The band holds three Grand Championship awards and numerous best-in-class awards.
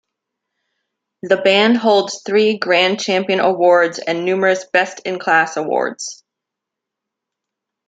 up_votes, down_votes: 2, 1